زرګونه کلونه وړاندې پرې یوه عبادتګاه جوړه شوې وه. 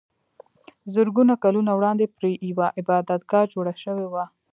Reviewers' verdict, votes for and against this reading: accepted, 2, 0